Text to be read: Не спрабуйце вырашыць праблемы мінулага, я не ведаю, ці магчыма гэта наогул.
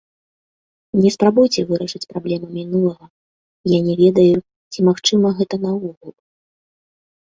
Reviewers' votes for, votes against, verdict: 2, 1, accepted